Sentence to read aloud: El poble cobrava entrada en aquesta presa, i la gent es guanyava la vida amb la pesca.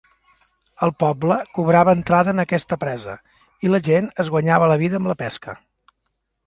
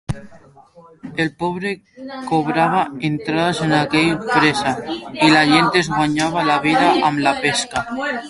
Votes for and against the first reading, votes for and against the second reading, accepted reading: 2, 0, 0, 2, first